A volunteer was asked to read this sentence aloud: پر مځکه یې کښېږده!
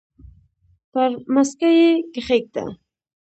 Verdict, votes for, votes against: rejected, 1, 2